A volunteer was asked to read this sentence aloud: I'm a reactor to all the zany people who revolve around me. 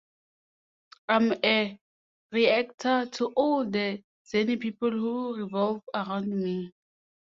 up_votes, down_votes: 2, 0